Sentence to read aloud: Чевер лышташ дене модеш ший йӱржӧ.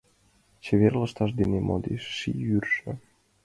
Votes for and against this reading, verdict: 2, 0, accepted